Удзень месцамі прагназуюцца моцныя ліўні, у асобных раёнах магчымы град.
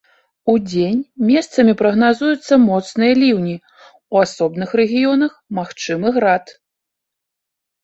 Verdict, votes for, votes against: rejected, 1, 2